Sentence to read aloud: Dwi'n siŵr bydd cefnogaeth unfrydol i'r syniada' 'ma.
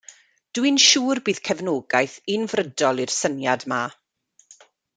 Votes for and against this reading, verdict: 0, 2, rejected